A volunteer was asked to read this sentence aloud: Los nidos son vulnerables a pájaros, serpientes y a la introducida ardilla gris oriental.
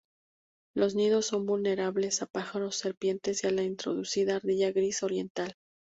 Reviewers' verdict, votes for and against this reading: accepted, 2, 0